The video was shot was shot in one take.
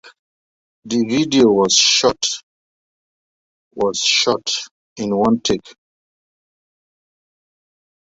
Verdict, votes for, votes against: rejected, 0, 2